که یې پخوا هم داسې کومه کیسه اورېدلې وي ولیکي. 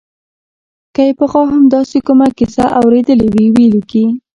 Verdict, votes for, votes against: rejected, 0, 2